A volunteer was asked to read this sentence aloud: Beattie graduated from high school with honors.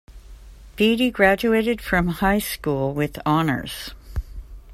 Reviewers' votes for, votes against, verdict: 2, 1, accepted